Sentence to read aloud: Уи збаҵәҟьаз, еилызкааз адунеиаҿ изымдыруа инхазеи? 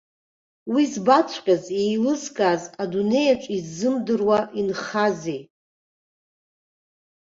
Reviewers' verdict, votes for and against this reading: accepted, 2, 1